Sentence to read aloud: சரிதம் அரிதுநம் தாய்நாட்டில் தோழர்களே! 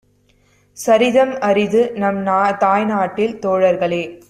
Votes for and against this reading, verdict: 1, 2, rejected